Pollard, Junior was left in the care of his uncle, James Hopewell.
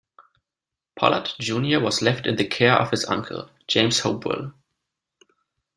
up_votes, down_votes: 0, 2